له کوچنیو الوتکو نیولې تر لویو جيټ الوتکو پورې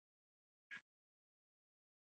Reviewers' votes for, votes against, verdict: 0, 2, rejected